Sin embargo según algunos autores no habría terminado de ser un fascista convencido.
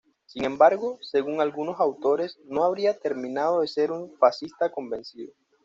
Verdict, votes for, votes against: accepted, 2, 0